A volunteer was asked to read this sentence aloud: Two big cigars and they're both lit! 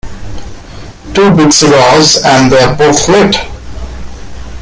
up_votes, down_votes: 2, 0